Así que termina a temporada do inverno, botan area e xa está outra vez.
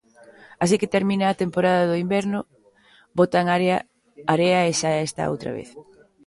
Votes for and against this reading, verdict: 0, 2, rejected